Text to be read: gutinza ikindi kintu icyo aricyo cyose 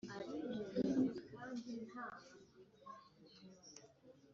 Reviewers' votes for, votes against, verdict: 0, 2, rejected